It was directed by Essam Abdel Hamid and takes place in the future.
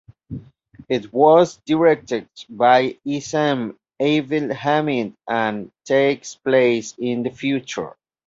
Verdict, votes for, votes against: accepted, 2, 1